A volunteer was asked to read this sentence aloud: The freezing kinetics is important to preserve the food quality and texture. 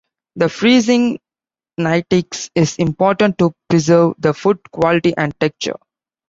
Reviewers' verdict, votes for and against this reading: rejected, 1, 2